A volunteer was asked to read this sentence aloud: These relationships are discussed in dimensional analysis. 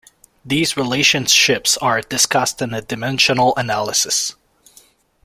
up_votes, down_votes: 2, 0